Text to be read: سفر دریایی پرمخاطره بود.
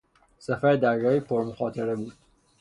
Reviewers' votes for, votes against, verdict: 3, 0, accepted